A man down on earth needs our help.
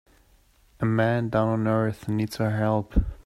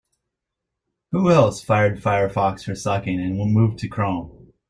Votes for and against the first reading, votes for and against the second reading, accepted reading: 2, 0, 0, 4, first